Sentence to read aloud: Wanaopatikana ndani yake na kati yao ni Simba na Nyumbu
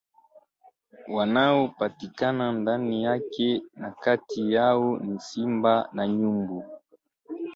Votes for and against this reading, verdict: 2, 0, accepted